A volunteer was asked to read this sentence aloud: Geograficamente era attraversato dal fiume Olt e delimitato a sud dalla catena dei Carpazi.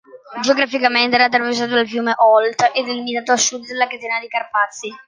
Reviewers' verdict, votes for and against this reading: rejected, 0, 2